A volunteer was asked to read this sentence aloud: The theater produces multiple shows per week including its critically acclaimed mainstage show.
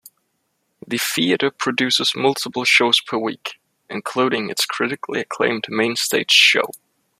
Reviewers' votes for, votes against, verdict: 2, 0, accepted